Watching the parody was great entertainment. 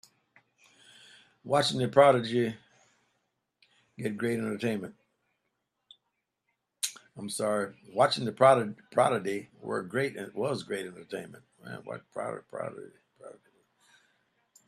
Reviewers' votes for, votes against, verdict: 0, 2, rejected